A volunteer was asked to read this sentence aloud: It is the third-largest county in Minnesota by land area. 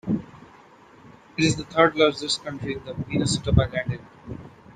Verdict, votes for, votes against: accepted, 2, 1